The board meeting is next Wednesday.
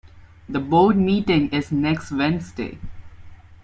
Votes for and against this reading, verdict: 2, 0, accepted